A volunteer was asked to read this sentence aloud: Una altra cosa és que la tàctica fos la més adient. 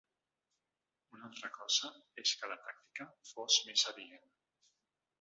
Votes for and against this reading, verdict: 0, 2, rejected